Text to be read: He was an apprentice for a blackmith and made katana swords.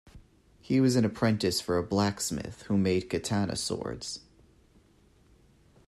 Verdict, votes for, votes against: rejected, 0, 2